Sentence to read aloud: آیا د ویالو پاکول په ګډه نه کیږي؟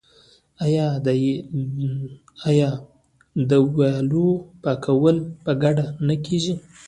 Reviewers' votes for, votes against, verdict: 0, 2, rejected